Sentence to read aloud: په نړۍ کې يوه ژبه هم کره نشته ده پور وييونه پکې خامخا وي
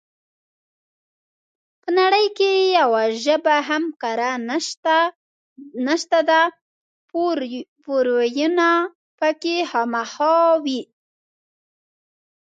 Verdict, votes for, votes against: rejected, 1, 2